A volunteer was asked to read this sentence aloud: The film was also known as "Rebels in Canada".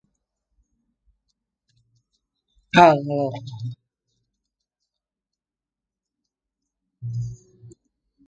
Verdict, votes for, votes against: rejected, 0, 2